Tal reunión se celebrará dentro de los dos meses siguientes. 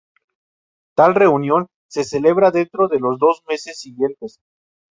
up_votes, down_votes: 0, 2